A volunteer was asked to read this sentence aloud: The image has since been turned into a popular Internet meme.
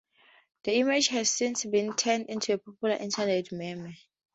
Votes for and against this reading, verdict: 2, 0, accepted